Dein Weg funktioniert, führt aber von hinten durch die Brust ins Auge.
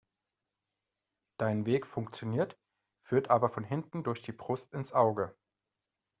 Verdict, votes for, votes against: accepted, 2, 0